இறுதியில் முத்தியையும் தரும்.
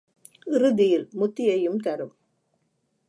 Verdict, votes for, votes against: accepted, 2, 0